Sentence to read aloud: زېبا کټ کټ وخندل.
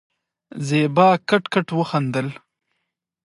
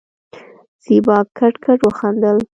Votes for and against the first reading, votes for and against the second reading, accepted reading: 2, 0, 1, 2, first